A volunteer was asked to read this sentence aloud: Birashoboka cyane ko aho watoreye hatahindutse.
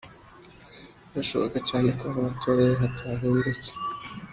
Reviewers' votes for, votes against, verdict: 2, 0, accepted